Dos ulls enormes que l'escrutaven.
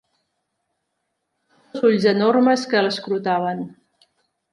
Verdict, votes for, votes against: rejected, 0, 2